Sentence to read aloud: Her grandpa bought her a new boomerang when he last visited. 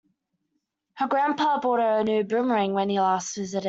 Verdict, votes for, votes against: rejected, 1, 2